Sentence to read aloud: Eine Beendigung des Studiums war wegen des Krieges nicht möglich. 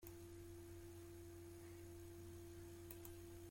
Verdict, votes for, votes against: rejected, 0, 2